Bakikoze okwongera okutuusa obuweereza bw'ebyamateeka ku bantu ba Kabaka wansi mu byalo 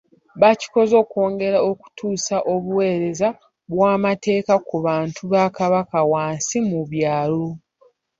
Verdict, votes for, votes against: rejected, 0, 3